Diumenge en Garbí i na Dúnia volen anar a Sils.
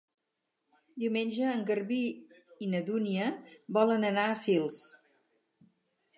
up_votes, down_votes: 4, 0